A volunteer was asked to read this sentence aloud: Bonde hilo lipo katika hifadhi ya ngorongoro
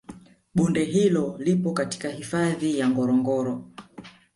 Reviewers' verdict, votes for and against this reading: rejected, 0, 2